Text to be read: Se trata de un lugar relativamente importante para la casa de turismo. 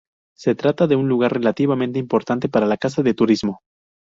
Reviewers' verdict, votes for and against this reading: accepted, 4, 0